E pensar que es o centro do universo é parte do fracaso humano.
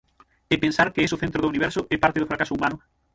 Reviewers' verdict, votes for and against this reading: rejected, 3, 6